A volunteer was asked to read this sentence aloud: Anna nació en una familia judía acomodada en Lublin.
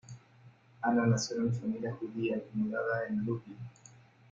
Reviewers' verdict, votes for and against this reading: rejected, 0, 2